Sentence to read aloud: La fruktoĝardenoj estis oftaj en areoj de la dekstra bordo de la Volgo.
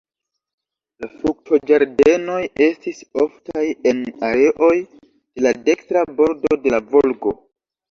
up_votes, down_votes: 2, 3